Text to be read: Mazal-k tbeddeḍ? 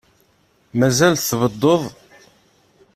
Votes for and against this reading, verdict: 3, 4, rejected